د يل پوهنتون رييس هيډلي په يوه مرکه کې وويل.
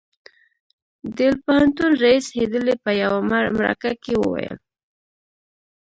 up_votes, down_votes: 1, 2